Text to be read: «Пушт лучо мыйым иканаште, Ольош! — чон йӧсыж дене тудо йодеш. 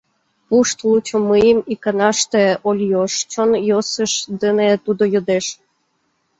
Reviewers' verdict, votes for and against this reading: rejected, 1, 2